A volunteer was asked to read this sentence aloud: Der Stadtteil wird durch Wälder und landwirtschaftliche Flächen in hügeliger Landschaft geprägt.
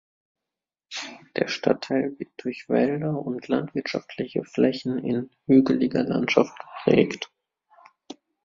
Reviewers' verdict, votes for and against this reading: rejected, 1, 2